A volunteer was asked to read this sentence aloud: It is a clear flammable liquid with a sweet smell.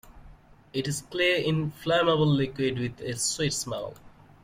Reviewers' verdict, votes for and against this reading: rejected, 0, 2